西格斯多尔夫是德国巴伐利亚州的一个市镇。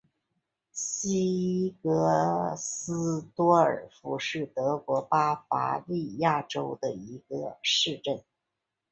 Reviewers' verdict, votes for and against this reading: accepted, 7, 1